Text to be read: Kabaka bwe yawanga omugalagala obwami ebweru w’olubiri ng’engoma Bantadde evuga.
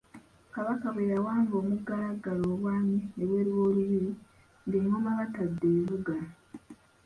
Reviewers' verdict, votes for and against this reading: rejected, 0, 2